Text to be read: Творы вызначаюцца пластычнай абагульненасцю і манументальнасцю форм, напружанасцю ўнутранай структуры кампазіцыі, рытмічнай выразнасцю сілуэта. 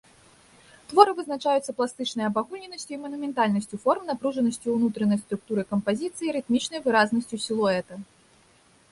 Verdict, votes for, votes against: accepted, 2, 0